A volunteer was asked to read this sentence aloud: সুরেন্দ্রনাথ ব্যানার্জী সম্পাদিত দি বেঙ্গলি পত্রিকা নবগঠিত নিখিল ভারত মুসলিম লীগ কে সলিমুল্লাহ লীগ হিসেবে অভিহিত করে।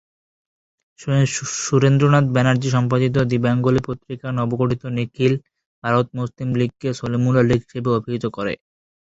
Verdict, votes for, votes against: rejected, 10, 11